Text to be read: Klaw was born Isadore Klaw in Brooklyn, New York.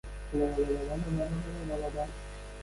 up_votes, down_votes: 0, 3